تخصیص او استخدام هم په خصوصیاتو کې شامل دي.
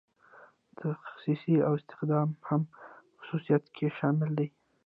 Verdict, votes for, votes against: rejected, 0, 2